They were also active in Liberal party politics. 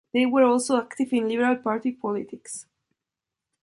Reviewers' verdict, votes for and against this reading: accepted, 2, 0